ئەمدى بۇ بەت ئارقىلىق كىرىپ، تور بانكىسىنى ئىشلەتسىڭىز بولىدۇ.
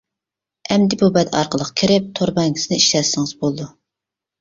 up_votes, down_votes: 2, 0